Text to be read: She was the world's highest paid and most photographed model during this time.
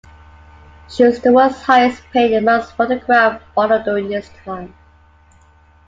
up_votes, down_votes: 2, 1